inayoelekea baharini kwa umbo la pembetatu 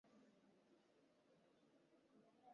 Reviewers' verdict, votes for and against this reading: rejected, 0, 2